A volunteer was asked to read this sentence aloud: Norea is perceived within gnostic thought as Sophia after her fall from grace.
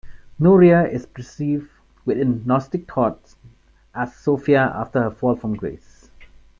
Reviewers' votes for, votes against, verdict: 2, 0, accepted